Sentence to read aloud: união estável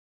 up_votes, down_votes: 0, 2